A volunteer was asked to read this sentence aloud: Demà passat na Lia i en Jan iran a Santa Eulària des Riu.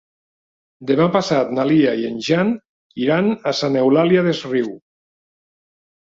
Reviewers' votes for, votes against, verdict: 0, 2, rejected